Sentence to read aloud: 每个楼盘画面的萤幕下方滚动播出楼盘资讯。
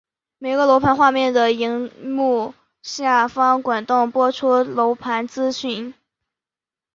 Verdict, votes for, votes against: accepted, 4, 0